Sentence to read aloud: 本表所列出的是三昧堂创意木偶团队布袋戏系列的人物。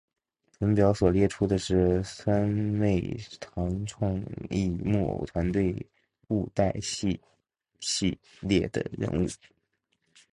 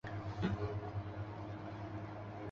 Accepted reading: first